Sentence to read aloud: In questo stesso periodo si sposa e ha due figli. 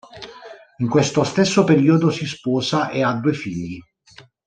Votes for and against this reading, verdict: 2, 1, accepted